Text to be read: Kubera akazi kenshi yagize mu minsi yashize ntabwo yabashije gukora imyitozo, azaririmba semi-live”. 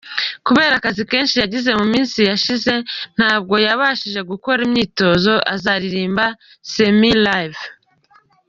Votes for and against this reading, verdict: 2, 0, accepted